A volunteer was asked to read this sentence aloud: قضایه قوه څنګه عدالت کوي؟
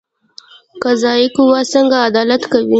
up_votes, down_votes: 0, 2